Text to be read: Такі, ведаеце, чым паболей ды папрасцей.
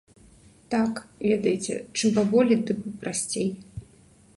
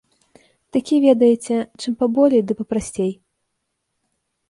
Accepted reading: second